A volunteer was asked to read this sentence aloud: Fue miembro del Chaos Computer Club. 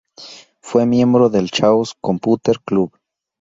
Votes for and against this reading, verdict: 0, 2, rejected